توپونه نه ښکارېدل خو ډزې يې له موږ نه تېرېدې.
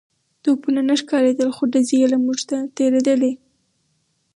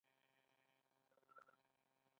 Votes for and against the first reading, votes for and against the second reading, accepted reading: 4, 0, 0, 2, first